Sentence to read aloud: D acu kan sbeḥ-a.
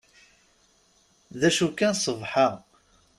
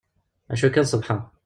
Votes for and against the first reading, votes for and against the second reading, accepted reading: 2, 0, 1, 2, first